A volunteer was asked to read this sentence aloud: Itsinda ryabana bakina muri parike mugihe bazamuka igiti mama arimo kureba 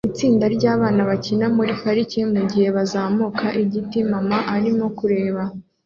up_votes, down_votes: 2, 0